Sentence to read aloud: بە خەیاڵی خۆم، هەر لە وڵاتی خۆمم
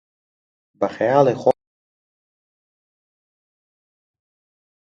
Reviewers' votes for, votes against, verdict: 0, 2, rejected